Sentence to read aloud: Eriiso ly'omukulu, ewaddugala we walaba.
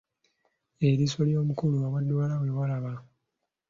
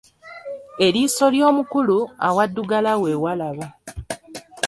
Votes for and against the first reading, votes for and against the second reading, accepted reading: 2, 0, 0, 2, first